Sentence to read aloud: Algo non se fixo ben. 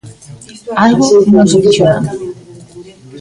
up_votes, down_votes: 1, 2